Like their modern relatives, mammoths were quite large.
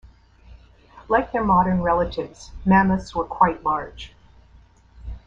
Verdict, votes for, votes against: accepted, 2, 0